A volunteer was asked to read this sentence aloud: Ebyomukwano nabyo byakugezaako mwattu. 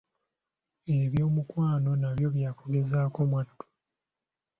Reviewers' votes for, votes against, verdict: 2, 0, accepted